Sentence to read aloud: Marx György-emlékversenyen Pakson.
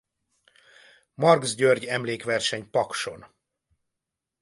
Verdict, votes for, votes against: rejected, 1, 2